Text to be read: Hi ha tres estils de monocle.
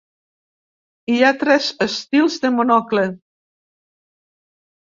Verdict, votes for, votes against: accepted, 3, 0